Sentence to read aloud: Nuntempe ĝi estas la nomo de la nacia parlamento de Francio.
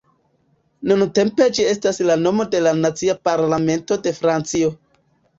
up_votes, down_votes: 2, 1